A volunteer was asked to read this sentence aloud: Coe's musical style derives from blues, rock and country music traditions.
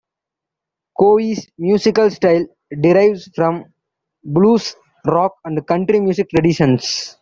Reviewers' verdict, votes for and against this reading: accepted, 2, 1